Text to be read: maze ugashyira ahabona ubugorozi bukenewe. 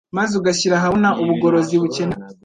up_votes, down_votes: 1, 2